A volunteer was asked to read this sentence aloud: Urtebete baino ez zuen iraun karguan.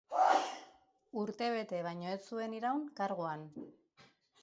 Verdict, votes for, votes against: accepted, 2, 0